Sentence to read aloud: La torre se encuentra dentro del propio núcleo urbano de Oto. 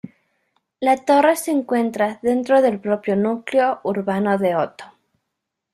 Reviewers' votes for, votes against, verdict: 1, 2, rejected